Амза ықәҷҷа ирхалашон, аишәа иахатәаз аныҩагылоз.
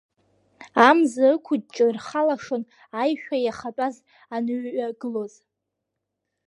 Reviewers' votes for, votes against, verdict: 0, 2, rejected